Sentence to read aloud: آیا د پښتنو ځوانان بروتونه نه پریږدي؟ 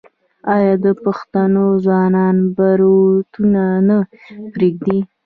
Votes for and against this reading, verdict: 2, 0, accepted